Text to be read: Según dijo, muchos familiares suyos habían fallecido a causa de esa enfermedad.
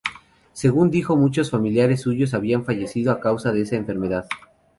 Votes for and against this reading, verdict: 4, 2, accepted